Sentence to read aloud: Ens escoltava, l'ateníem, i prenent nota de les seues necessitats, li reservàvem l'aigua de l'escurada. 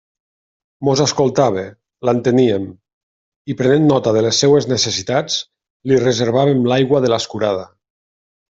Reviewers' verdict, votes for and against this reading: rejected, 0, 2